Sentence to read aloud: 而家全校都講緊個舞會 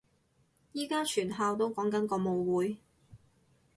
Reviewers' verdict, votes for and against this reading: rejected, 2, 4